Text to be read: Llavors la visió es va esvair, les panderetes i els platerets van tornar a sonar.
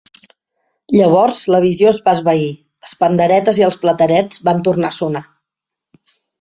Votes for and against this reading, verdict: 2, 0, accepted